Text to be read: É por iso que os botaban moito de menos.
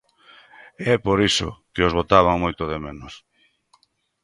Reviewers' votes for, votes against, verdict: 3, 0, accepted